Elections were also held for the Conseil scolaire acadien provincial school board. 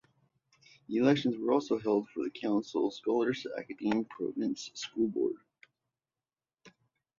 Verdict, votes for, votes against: accepted, 2, 0